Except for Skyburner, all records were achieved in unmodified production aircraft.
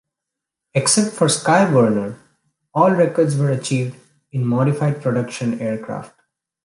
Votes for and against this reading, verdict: 0, 2, rejected